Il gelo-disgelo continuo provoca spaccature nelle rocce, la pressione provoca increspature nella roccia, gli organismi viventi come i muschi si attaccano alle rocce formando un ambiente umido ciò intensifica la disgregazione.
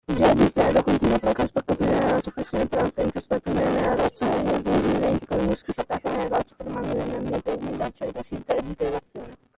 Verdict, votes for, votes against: rejected, 0, 2